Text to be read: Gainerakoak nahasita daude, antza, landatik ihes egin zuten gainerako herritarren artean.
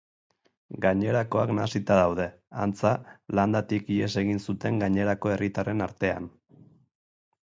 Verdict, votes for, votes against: accepted, 8, 0